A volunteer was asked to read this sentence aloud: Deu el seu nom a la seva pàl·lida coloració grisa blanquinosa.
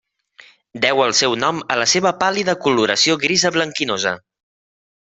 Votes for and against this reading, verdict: 3, 0, accepted